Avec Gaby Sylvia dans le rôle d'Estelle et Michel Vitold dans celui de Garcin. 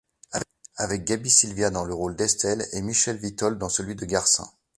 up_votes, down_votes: 1, 2